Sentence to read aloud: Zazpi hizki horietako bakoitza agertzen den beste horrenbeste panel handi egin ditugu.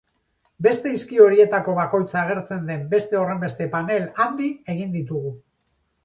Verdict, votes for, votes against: rejected, 0, 6